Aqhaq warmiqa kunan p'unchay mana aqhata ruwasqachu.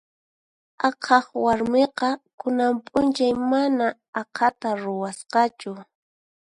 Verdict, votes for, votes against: accepted, 4, 0